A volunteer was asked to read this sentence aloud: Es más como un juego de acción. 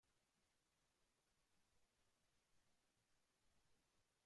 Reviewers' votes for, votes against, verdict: 1, 2, rejected